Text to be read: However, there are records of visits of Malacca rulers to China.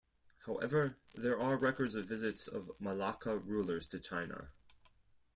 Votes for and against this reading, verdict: 2, 4, rejected